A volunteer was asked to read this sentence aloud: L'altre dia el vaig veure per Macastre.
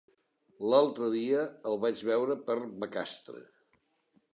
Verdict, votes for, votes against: accepted, 2, 0